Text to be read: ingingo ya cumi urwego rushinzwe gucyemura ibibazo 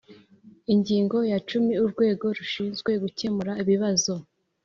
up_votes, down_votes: 2, 0